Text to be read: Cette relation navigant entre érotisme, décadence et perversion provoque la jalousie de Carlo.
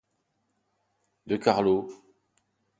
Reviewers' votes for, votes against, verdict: 1, 2, rejected